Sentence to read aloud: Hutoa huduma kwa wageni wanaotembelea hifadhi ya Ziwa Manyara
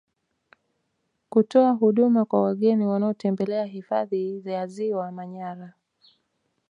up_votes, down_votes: 1, 2